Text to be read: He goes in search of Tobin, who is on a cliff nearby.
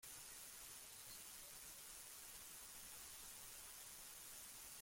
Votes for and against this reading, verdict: 0, 2, rejected